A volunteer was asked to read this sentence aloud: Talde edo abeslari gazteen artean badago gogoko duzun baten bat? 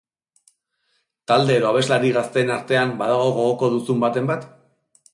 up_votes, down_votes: 2, 0